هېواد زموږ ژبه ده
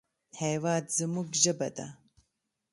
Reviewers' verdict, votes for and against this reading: accepted, 3, 0